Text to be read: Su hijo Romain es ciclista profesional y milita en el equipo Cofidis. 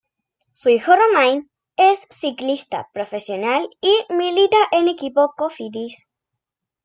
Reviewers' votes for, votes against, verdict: 1, 2, rejected